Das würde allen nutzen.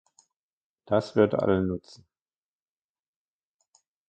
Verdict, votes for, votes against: rejected, 0, 2